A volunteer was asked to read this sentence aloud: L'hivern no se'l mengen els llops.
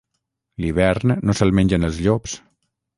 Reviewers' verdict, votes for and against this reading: accepted, 6, 0